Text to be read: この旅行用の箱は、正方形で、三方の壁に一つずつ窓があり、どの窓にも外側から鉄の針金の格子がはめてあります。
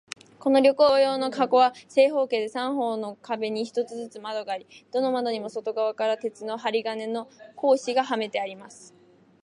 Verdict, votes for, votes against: accepted, 3, 1